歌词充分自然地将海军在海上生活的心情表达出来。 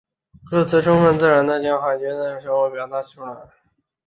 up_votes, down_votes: 0, 2